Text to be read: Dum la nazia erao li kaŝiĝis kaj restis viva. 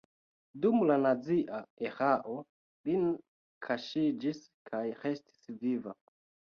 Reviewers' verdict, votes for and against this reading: rejected, 1, 2